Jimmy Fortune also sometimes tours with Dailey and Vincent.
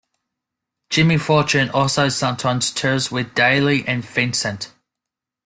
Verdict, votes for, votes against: accepted, 2, 0